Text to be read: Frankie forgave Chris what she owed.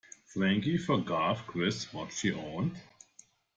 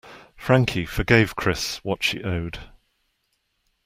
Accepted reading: second